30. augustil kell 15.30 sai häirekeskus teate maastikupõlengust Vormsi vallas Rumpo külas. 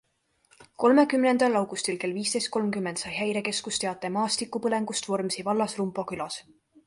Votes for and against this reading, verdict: 0, 2, rejected